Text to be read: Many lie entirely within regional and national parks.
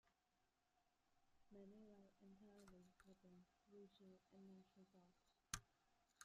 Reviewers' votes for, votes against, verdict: 0, 2, rejected